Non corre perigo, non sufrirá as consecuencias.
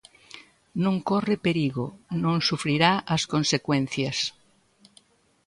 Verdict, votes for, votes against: accepted, 3, 0